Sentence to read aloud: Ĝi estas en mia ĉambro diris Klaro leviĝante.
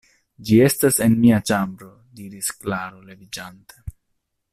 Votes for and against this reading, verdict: 2, 0, accepted